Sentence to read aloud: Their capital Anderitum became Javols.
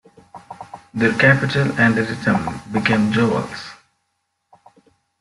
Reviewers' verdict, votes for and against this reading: rejected, 1, 2